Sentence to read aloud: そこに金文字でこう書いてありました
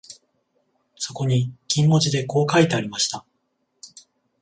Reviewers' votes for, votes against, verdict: 14, 0, accepted